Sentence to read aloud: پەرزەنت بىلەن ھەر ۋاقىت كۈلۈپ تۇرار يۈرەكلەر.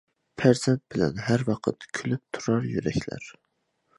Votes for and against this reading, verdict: 2, 0, accepted